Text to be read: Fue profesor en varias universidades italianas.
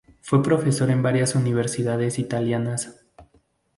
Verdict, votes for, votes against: accepted, 2, 0